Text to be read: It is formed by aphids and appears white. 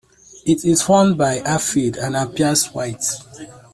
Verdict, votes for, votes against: rejected, 0, 2